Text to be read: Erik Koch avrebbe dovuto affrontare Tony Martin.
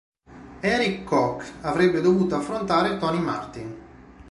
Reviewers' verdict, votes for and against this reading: rejected, 1, 2